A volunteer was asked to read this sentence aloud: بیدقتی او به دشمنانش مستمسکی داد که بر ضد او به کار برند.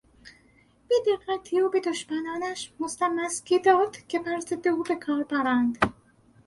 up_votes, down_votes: 2, 4